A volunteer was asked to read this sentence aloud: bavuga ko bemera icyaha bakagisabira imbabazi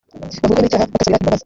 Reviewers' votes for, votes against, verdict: 0, 2, rejected